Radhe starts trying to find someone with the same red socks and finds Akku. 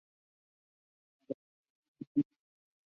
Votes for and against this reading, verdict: 0, 2, rejected